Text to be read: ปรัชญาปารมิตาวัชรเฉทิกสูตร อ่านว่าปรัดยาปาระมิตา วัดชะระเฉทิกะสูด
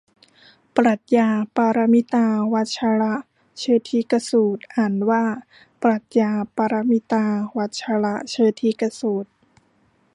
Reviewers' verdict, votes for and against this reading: rejected, 1, 2